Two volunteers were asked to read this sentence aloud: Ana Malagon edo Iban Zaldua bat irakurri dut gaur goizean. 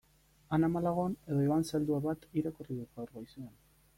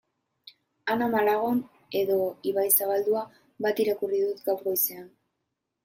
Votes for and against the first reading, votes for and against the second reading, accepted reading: 2, 0, 1, 2, first